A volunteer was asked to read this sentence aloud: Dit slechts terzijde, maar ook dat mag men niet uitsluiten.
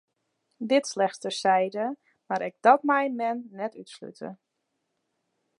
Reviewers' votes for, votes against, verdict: 0, 2, rejected